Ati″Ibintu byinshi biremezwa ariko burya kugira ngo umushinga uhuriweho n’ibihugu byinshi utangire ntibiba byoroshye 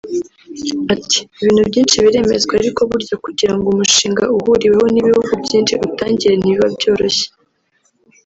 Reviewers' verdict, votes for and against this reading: rejected, 0, 2